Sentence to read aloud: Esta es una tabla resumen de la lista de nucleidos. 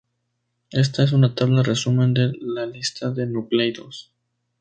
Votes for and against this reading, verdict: 4, 0, accepted